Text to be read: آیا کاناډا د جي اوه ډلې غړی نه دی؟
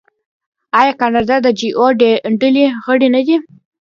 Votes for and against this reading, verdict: 2, 1, accepted